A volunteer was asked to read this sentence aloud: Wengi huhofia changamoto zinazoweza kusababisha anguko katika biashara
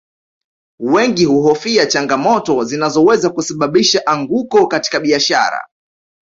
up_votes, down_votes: 2, 0